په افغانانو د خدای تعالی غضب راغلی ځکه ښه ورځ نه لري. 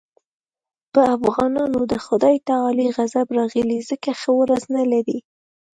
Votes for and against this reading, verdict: 2, 0, accepted